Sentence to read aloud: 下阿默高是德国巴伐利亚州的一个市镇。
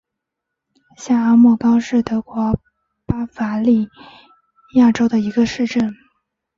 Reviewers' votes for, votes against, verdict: 0, 2, rejected